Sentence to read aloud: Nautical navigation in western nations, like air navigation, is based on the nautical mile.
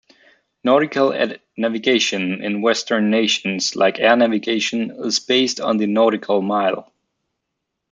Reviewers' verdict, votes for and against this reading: rejected, 0, 2